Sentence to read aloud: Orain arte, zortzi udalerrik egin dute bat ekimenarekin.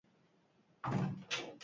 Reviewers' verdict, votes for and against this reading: rejected, 2, 4